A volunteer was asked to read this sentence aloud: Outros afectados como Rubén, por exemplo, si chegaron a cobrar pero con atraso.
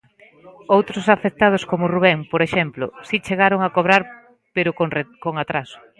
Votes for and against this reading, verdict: 0, 2, rejected